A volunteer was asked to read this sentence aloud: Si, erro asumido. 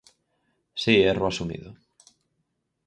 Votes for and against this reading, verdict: 4, 0, accepted